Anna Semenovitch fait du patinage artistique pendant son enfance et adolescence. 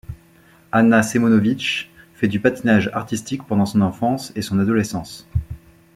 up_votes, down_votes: 1, 2